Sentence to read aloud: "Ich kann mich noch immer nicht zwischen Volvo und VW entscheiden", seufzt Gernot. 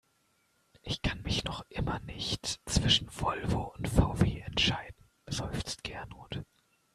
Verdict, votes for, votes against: accepted, 2, 1